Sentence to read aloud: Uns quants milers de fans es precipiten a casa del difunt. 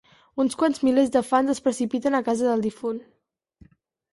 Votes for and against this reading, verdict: 4, 0, accepted